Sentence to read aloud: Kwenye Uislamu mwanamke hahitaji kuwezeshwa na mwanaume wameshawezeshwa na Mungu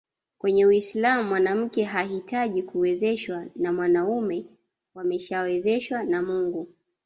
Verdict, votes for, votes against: rejected, 1, 2